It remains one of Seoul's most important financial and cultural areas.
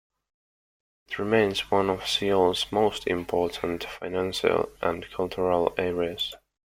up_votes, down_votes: 0, 2